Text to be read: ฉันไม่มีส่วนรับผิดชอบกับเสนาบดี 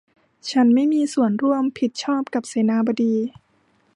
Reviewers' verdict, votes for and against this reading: rejected, 0, 2